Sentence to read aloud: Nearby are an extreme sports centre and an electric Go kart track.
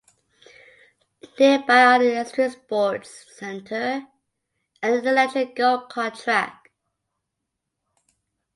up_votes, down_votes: 1, 2